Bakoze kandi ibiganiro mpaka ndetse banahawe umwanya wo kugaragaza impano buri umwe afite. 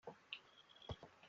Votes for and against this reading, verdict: 0, 2, rejected